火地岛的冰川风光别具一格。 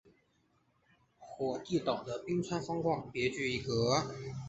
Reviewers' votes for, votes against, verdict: 4, 0, accepted